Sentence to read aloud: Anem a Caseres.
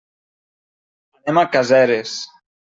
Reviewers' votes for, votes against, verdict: 0, 2, rejected